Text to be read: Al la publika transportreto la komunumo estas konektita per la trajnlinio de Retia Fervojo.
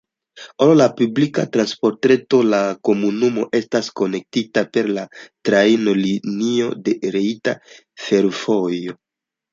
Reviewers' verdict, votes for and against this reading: accepted, 2, 1